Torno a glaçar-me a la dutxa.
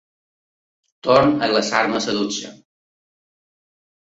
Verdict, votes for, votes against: rejected, 0, 2